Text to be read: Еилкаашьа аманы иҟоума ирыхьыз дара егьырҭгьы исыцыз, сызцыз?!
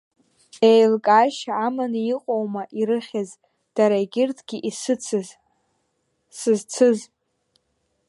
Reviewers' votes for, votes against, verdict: 1, 2, rejected